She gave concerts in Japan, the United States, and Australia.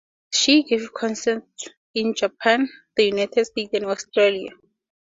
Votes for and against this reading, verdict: 4, 0, accepted